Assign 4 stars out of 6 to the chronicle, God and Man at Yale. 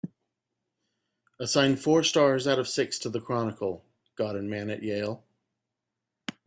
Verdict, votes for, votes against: rejected, 0, 2